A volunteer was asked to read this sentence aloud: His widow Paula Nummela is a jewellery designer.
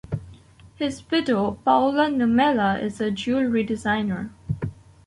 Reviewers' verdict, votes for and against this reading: accepted, 2, 0